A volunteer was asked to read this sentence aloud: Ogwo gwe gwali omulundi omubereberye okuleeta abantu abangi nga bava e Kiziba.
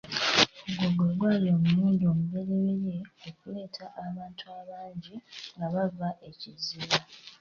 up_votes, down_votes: 3, 0